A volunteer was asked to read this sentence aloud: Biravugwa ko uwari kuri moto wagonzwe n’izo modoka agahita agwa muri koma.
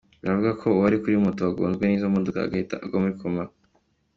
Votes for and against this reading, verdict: 2, 0, accepted